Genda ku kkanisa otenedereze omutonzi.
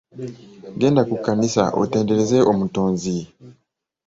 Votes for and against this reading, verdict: 2, 0, accepted